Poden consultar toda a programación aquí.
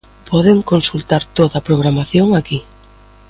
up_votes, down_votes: 3, 0